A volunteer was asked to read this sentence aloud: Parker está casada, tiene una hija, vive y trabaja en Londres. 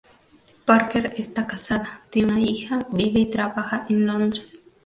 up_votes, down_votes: 0, 2